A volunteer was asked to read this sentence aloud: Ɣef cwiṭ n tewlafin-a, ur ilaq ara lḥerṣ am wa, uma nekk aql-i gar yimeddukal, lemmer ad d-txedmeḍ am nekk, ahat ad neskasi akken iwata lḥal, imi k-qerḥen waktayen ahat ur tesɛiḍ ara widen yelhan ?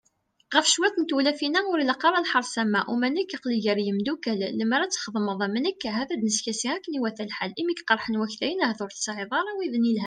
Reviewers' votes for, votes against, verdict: 3, 0, accepted